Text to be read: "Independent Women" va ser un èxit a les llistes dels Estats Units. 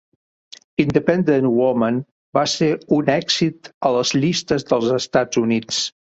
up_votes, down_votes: 2, 1